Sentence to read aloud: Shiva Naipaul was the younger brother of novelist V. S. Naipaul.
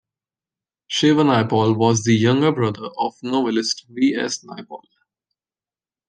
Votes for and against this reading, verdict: 2, 0, accepted